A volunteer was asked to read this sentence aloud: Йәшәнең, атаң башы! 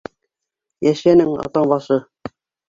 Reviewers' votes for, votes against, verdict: 0, 3, rejected